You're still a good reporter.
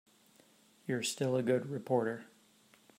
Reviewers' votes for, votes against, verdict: 3, 0, accepted